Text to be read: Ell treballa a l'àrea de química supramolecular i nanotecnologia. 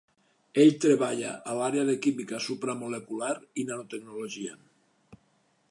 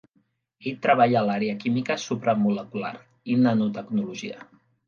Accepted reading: first